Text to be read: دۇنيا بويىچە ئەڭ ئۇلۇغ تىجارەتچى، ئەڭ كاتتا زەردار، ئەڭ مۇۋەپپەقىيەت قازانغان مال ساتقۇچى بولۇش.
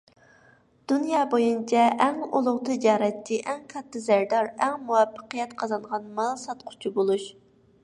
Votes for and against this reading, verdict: 0, 2, rejected